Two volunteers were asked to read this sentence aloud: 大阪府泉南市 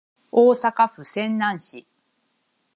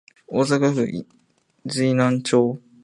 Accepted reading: first